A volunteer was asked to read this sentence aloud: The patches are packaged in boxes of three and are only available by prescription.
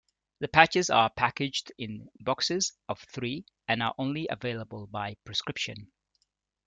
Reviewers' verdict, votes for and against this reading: accepted, 2, 0